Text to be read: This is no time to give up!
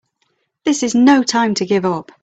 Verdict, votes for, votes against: accepted, 3, 0